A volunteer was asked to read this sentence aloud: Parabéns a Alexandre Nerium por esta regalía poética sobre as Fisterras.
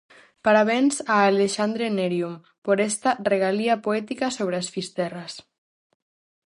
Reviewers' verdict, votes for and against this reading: accepted, 4, 0